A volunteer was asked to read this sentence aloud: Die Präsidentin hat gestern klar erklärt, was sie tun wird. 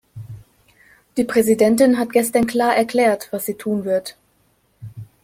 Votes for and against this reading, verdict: 2, 0, accepted